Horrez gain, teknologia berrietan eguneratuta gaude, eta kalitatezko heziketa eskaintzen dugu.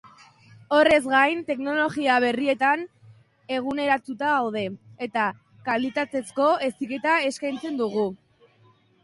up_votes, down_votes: 2, 0